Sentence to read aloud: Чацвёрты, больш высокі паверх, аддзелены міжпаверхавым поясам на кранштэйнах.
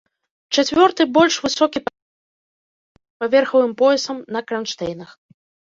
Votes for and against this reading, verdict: 0, 2, rejected